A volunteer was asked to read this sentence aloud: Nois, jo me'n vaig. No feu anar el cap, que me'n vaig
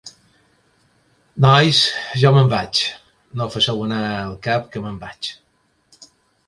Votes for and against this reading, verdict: 0, 3, rejected